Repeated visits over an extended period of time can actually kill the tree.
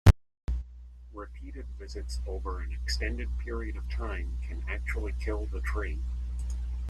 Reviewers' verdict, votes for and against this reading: accepted, 2, 0